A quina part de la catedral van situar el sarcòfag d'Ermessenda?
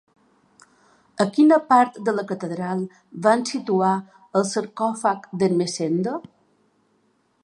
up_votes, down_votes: 1, 2